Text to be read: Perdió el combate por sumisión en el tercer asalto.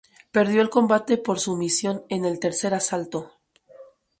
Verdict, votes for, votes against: accepted, 2, 0